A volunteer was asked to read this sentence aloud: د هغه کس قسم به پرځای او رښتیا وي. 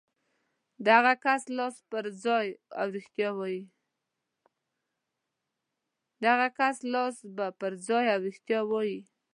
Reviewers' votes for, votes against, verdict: 0, 2, rejected